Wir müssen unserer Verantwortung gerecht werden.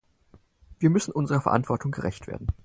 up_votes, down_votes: 4, 0